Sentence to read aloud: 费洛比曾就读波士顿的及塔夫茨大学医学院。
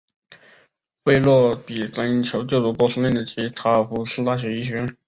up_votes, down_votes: 2, 4